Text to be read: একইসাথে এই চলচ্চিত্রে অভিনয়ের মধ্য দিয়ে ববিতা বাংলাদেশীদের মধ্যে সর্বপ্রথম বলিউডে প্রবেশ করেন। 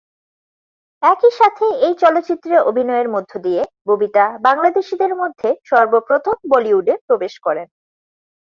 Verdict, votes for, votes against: accepted, 8, 0